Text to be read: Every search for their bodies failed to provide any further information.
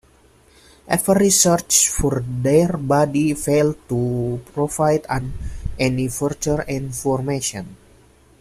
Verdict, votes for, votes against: rejected, 0, 2